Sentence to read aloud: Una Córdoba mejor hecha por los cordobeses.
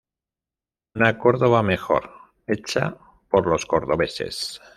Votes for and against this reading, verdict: 1, 2, rejected